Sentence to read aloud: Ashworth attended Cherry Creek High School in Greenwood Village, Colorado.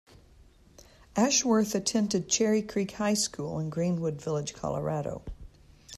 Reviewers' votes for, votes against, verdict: 2, 0, accepted